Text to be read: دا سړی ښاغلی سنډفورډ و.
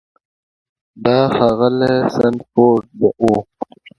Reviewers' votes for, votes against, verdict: 2, 0, accepted